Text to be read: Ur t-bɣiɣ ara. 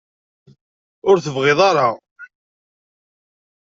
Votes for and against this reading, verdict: 0, 2, rejected